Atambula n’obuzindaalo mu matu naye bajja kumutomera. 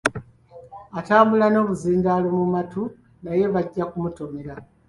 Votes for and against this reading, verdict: 2, 1, accepted